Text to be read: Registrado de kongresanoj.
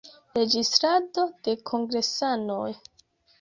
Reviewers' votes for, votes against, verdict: 1, 2, rejected